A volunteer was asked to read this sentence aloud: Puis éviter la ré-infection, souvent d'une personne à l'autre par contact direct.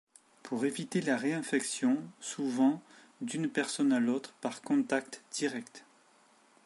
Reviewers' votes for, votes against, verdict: 0, 2, rejected